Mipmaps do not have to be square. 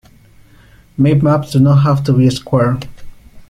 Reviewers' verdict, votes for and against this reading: rejected, 1, 2